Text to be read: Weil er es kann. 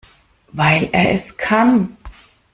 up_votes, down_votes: 2, 0